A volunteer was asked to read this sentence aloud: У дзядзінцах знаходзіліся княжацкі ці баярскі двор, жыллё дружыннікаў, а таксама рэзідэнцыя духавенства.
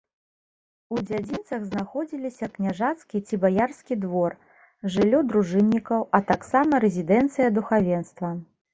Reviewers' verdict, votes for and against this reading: accepted, 2, 0